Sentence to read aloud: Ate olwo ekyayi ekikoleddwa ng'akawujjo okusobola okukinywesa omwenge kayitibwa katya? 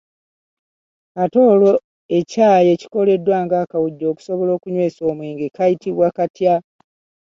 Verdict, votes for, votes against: accepted, 2, 1